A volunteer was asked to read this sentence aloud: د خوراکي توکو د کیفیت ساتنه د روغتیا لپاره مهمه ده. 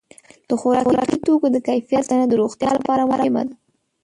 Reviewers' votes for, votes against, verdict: 2, 3, rejected